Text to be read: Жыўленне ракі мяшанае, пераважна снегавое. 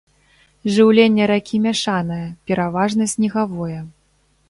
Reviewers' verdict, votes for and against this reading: accepted, 2, 0